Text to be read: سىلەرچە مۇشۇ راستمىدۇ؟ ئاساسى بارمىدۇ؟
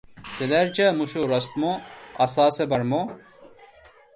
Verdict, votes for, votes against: rejected, 0, 2